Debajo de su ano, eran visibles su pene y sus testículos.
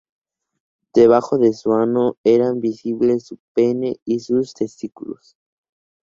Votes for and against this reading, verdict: 0, 2, rejected